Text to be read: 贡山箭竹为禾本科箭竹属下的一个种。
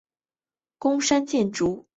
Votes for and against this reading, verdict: 0, 4, rejected